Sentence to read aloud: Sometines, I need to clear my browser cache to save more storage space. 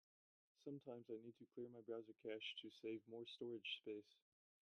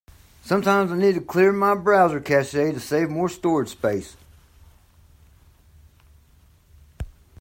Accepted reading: second